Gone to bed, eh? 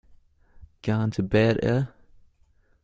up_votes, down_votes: 2, 1